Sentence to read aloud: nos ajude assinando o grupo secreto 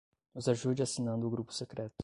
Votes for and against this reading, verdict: 5, 0, accepted